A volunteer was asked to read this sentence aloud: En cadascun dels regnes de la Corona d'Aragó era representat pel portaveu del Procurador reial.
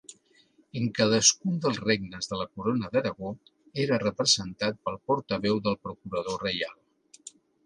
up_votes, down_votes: 2, 0